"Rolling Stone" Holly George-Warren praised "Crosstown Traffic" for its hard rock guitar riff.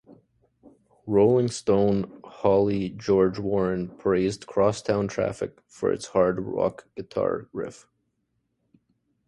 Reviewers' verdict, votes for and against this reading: accepted, 2, 1